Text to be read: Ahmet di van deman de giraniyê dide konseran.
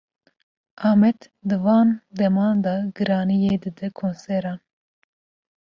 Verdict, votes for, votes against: rejected, 1, 2